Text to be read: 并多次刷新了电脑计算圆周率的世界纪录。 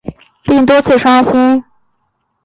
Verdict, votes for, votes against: rejected, 0, 2